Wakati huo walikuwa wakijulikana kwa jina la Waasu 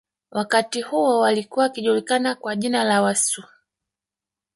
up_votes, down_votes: 1, 2